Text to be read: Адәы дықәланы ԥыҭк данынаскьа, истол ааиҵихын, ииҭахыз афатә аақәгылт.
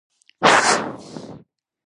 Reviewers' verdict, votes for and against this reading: rejected, 0, 2